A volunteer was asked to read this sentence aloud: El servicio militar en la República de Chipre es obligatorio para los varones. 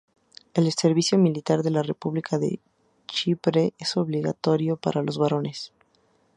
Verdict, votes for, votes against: accepted, 2, 0